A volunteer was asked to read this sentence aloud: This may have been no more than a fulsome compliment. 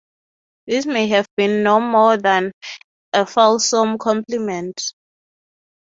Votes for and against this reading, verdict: 3, 0, accepted